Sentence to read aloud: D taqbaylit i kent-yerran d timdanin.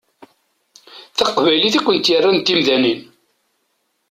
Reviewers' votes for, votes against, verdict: 2, 0, accepted